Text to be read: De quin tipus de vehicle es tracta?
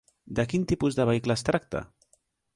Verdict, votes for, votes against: accepted, 3, 0